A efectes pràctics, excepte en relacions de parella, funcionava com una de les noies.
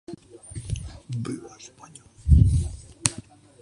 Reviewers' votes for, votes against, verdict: 0, 2, rejected